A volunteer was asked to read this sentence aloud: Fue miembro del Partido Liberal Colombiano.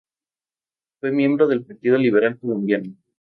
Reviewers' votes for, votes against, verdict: 4, 0, accepted